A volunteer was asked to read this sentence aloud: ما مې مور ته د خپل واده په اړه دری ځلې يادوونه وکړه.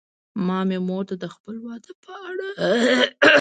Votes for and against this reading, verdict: 0, 2, rejected